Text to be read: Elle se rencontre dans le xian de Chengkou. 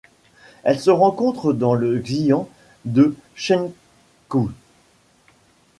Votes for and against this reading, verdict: 2, 0, accepted